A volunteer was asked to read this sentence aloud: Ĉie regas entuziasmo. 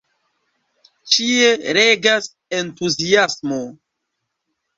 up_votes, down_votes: 2, 0